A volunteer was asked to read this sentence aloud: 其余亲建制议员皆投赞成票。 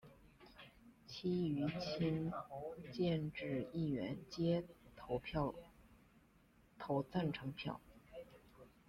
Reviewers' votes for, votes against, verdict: 0, 2, rejected